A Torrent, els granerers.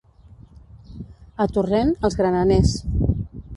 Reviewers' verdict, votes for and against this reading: rejected, 1, 2